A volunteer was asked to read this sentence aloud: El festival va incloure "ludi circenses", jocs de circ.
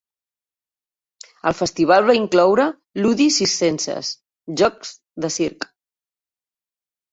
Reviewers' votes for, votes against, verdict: 1, 2, rejected